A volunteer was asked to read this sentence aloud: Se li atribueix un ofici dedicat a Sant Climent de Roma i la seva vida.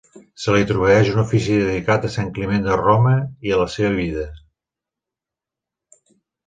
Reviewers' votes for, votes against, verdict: 1, 2, rejected